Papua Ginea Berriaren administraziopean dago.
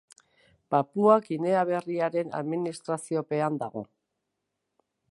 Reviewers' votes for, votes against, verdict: 2, 0, accepted